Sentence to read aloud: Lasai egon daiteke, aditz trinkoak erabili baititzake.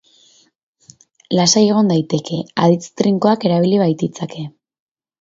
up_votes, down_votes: 0, 2